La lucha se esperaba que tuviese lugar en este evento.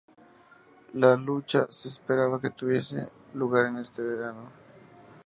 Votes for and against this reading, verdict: 0, 2, rejected